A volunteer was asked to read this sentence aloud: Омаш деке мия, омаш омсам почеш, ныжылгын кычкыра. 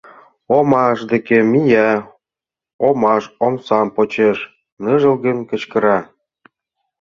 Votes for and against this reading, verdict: 2, 0, accepted